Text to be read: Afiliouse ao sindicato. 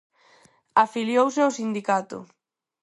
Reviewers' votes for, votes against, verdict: 4, 0, accepted